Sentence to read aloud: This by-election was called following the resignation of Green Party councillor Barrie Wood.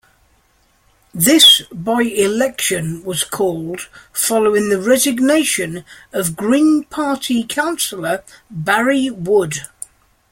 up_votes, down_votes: 2, 0